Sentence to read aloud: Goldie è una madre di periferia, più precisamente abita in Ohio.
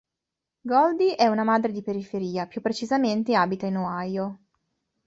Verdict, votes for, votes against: accepted, 2, 0